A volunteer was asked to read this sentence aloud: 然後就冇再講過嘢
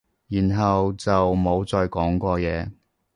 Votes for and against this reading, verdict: 2, 0, accepted